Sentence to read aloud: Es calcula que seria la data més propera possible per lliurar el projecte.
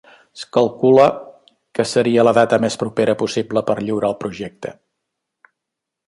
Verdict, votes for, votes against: accepted, 2, 0